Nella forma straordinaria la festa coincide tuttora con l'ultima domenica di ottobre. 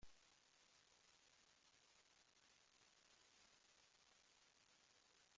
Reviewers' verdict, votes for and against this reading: rejected, 0, 2